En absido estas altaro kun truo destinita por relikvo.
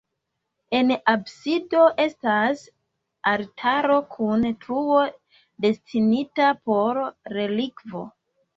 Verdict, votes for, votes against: rejected, 1, 2